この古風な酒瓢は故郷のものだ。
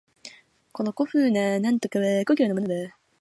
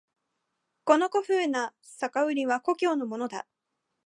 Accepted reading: second